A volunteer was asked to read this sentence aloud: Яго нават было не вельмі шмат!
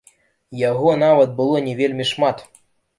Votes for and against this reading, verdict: 2, 0, accepted